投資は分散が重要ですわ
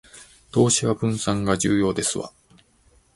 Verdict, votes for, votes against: accepted, 2, 0